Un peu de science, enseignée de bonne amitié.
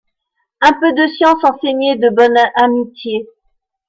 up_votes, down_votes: 2, 0